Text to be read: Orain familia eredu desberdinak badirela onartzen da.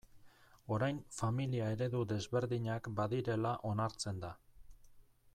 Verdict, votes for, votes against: accepted, 2, 0